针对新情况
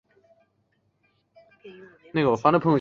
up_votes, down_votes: 1, 2